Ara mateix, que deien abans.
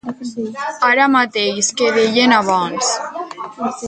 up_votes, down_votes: 2, 2